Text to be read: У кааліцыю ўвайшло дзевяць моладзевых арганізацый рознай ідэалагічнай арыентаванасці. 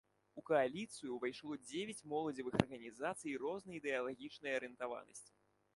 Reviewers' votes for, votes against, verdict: 2, 0, accepted